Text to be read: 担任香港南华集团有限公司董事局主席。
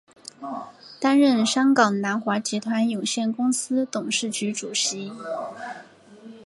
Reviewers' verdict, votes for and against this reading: accepted, 3, 0